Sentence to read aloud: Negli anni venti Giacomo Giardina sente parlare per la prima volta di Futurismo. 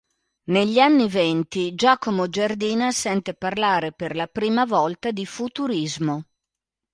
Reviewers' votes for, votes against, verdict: 2, 0, accepted